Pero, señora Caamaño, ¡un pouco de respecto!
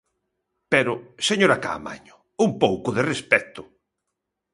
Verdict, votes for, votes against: accepted, 2, 0